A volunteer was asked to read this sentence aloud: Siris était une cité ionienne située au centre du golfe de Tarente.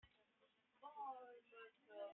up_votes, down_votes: 0, 2